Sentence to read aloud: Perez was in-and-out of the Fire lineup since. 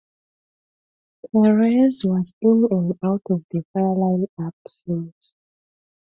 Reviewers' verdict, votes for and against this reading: accepted, 2, 0